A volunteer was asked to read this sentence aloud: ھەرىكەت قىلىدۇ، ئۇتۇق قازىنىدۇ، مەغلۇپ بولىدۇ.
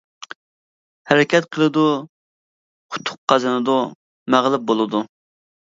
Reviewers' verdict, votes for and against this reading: accepted, 2, 0